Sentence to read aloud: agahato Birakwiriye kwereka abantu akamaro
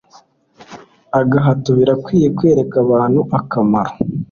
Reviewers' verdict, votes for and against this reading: accepted, 2, 1